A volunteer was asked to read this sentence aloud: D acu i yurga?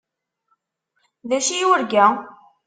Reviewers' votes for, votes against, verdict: 2, 0, accepted